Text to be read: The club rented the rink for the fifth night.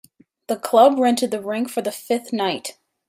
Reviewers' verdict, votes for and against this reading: accepted, 2, 0